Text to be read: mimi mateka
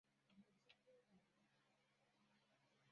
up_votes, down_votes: 0, 2